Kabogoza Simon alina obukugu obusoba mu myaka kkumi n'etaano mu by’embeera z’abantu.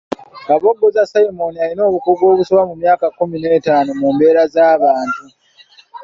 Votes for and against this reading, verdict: 0, 2, rejected